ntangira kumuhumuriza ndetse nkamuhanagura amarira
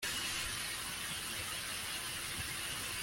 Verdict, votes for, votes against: rejected, 0, 2